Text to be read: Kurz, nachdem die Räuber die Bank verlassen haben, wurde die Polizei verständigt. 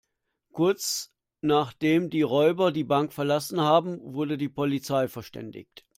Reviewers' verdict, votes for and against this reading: accepted, 2, 0